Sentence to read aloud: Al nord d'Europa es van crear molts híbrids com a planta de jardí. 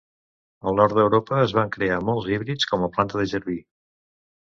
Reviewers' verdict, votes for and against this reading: accepted, 2, 0